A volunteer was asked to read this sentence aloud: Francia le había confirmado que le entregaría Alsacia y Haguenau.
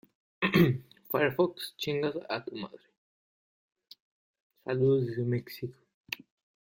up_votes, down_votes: 0, 2